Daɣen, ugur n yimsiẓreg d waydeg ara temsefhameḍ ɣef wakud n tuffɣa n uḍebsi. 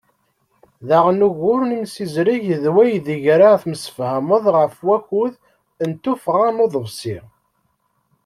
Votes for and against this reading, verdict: 2, 0, accepted